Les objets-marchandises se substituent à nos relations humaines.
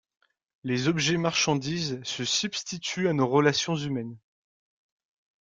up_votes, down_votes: 2, 0